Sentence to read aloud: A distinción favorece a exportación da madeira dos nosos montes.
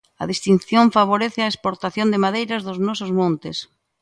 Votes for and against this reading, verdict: 1, 2, rejected